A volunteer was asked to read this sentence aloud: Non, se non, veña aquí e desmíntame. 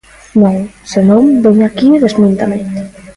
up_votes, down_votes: 1, 2